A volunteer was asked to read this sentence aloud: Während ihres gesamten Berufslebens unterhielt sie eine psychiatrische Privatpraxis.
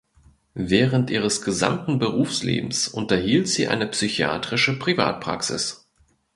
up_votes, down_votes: 2, 0